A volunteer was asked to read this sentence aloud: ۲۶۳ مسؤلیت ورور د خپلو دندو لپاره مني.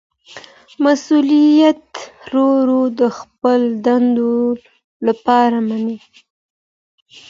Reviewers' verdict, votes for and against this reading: rejected, 0, 2